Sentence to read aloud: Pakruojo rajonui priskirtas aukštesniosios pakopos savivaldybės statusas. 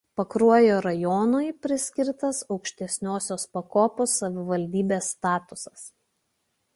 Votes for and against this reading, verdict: 2, 0, accepted